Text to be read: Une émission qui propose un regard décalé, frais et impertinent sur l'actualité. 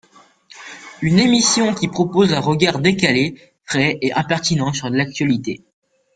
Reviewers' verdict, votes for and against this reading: accepted, 2, 0